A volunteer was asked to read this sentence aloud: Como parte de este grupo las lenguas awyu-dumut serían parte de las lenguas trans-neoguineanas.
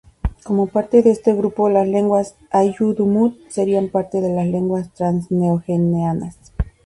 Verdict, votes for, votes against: rejected, 0, 2